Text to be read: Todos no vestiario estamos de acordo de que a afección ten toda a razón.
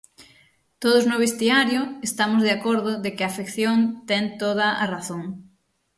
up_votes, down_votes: 6, 0